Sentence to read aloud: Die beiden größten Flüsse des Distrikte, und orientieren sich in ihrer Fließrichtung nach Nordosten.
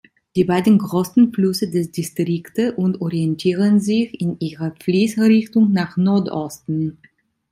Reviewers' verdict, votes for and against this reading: rejected, 0, 2